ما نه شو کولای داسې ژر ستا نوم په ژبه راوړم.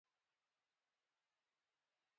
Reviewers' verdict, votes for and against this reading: accepted, 2, 0